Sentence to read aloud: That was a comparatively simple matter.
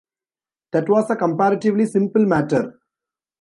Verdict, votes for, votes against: accepted, 2, 0